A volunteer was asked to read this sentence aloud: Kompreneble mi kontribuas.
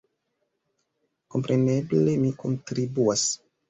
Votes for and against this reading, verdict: 2, 1, accepted